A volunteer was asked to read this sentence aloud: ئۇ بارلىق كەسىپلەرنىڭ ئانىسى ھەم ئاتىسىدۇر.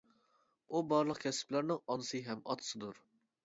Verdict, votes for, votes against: accepted, 2, 0